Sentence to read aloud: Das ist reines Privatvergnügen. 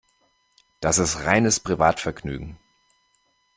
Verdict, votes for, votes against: accepted, 2, 0